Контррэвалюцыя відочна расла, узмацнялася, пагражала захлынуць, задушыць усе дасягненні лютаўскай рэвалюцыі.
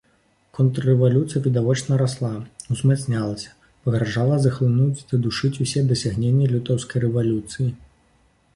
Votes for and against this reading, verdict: 0, 2, rejected